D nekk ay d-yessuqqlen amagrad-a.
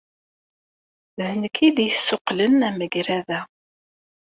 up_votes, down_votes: 2, 0